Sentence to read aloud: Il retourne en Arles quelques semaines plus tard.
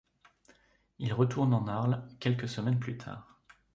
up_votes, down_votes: 2, 0